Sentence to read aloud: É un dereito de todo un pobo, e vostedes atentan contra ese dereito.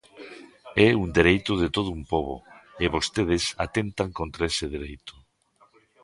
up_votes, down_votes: 2, 1